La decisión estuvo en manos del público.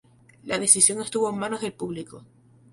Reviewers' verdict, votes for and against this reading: accepted, 2, 0